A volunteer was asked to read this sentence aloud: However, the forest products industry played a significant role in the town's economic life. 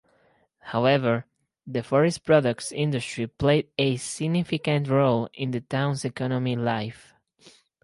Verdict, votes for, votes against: rejected, 2, 2